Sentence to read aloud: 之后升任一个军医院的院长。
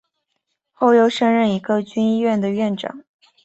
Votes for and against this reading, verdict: 2, 1, accepted